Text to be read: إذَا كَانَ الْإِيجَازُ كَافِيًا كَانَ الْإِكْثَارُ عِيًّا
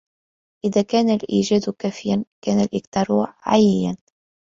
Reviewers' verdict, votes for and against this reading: rejected, 2, 3